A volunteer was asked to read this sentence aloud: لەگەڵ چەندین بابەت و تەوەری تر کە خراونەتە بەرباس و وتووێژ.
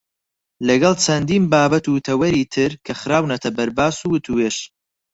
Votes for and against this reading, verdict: 4, 0, accepted